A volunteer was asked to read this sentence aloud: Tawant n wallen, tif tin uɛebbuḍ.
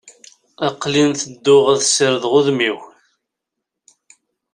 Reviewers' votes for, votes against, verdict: 1, 2, rejected